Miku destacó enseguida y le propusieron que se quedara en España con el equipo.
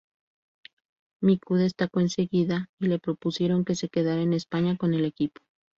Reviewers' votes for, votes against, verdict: 2, 0, accepted